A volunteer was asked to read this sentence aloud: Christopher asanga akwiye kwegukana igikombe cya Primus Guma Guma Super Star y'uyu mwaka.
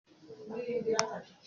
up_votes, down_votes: 0, 2